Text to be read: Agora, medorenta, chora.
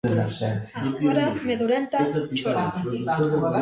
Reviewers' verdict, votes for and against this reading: rejected, 0, 2